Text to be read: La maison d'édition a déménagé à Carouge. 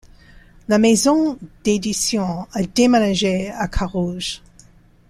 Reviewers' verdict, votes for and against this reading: accepted, 2, 0